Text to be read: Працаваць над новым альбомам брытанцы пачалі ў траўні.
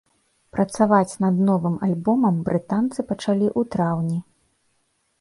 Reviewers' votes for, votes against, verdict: 1, 2, rejected